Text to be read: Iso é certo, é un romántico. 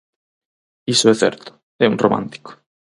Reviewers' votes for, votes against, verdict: 4, 0, accepted